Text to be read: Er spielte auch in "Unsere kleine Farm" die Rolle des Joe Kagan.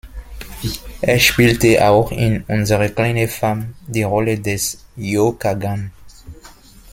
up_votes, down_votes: 2, 1